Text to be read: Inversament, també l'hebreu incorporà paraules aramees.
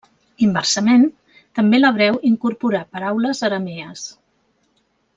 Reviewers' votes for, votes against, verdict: 1, 2, rejected